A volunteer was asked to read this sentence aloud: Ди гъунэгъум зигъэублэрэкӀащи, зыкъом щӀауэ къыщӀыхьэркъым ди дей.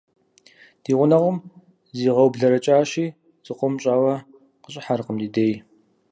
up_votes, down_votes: 4, 0